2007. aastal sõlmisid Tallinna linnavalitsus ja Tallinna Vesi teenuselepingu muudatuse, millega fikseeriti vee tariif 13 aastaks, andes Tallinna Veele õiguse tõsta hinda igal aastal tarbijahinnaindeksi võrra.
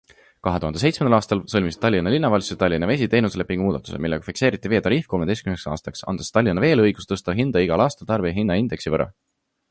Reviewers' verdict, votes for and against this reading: rejected, 0, 2